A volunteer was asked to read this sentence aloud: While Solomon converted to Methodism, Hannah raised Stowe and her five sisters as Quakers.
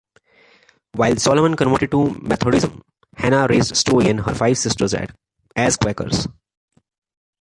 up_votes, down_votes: 0, 2